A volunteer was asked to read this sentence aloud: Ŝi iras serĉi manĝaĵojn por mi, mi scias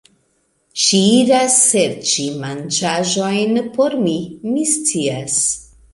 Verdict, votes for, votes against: rejected, 0, 2